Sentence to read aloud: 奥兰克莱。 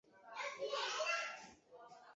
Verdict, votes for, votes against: rejected, 1, 3